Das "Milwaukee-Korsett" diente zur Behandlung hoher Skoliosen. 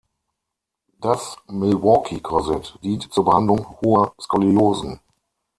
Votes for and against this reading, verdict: 3, 6, rejected